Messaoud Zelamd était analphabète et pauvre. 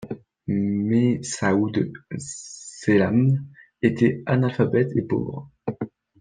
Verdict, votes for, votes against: rejected, 1, 2